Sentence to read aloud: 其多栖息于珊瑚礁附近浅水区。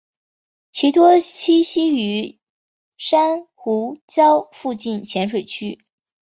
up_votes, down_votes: 4, 0